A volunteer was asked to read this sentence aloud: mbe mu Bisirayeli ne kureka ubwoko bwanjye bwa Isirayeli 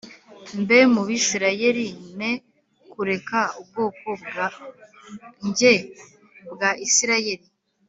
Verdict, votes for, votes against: accepted, 2, 0